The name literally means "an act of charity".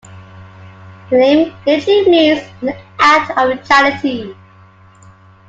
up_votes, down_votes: 1, 2